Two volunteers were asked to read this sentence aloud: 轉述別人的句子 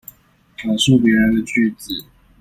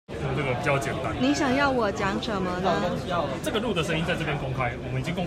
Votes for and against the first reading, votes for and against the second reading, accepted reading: 2, 0, 0, 2, first